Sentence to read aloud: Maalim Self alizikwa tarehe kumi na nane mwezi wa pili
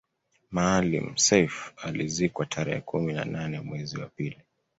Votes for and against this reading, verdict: 2, 0, accepted